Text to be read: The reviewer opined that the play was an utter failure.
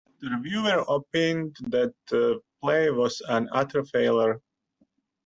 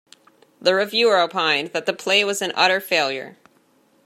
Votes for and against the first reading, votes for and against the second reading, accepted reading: 1, 2, 2, 0, second